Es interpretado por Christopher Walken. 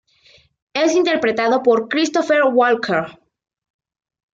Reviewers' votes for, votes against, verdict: 2, 1, accepted